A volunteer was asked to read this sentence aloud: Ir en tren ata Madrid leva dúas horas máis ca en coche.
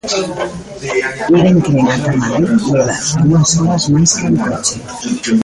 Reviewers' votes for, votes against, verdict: 0, 2, rejected